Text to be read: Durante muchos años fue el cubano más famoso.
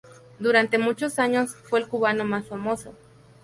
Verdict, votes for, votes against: accepted, 2, 0